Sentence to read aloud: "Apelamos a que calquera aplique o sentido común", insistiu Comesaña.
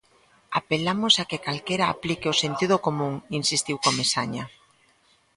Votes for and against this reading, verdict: 2, 0, accepted